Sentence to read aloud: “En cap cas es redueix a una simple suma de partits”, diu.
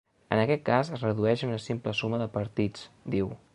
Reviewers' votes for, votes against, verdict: 1, 2, rejected